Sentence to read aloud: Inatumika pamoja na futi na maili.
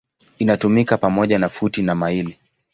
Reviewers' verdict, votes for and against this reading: accepted, 2, 0